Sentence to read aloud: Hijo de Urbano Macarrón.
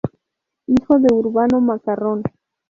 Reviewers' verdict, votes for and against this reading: accepted, 2, 0